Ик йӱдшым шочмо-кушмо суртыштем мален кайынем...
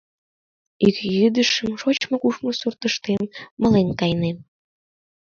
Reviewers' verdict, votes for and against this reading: rejected, 1, 2